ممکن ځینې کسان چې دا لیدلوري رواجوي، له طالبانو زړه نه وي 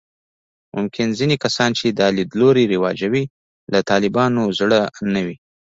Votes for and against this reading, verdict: 2, 0, accepted